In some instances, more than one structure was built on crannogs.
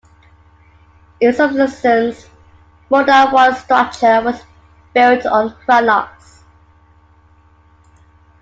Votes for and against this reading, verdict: 0, 2, rejected